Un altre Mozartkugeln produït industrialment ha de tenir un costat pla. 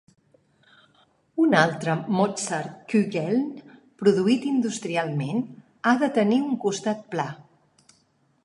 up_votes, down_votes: 1, 2